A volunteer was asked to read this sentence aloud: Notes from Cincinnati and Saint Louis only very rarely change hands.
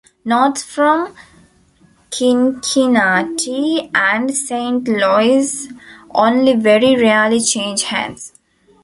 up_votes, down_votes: 0, 2